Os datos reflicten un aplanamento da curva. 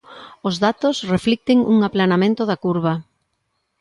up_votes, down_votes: 2, 0